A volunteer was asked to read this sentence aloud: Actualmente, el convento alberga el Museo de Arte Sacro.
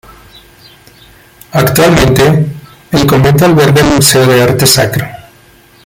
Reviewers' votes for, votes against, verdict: 0, 2, rejected